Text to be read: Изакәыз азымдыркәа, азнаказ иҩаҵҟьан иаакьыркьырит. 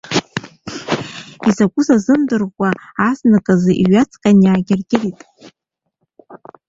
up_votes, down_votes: 0, 2